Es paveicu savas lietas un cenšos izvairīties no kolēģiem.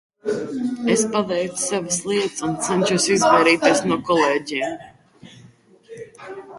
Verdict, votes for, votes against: rejected, 0, 2